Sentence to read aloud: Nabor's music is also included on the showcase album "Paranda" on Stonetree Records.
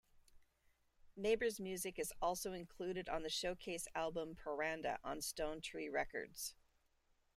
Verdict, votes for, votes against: accepted, 2, 0